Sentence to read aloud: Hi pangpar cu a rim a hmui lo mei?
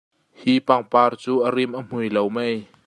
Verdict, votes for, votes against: accepted, 2, 0